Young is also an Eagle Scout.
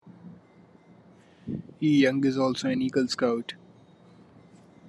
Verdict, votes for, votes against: accepted, 2, 0